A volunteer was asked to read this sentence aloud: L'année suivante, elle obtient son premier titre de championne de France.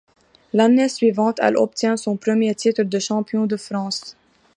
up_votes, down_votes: 0, 2